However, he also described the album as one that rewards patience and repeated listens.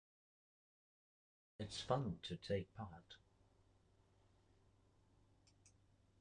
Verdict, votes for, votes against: rejected, 0, 2